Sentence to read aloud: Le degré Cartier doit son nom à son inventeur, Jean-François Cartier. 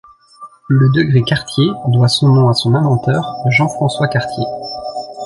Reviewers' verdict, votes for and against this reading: accepted, 2, 1